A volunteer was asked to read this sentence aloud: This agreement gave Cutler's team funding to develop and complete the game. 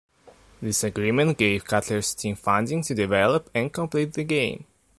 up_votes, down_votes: 2, 1